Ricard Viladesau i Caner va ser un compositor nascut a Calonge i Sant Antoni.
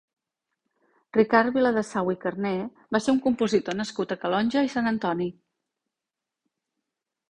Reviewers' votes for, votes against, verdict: 0, 2, rejected